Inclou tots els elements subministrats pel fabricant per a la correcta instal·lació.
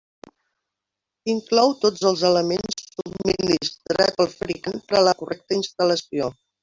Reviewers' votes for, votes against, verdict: 0, 2, rejected